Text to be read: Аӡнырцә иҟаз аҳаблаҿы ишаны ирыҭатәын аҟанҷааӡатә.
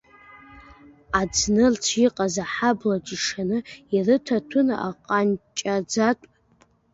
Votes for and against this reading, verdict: 0, 2, rejected